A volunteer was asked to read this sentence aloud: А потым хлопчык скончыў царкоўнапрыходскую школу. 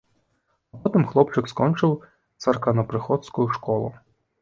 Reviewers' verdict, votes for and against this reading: rejected, 1, 2